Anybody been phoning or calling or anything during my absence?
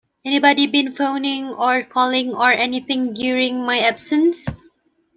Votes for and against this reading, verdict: 2, 0, accepted